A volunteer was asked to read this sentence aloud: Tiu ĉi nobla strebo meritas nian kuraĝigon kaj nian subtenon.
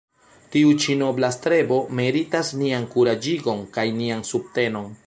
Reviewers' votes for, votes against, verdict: 1, 2, rejected